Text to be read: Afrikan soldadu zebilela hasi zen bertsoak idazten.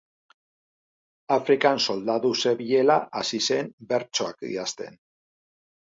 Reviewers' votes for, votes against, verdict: 1, 6, rejected